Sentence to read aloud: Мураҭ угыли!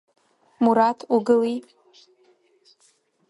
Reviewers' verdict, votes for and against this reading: rejected, 1, 2